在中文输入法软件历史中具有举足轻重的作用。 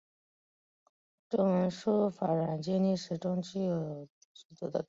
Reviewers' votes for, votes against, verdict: 1, 3, rejected